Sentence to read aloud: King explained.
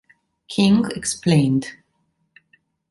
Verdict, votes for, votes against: accepted, 2, 0